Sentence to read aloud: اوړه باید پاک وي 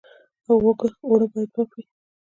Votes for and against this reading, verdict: 0, 2, rejected